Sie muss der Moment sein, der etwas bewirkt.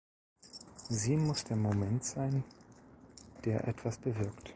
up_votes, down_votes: 2, 0